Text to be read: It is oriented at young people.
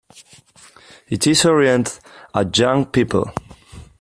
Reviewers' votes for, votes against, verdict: 0, 2, rejected